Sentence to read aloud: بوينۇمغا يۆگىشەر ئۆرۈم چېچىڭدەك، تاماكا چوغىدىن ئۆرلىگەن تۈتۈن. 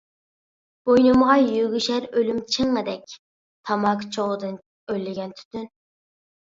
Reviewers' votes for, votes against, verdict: 1, 2, rejected